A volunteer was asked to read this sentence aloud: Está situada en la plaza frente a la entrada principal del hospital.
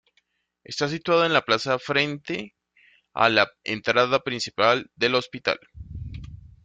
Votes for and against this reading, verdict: 2, 0, accepted